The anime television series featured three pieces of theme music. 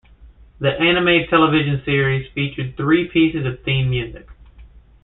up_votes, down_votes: 2, 0